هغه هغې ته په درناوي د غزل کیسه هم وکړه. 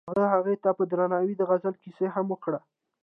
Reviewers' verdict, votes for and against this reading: accepted, 2, 0